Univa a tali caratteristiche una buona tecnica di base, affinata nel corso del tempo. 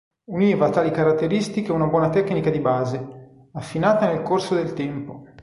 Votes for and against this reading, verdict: 1, 2, rejected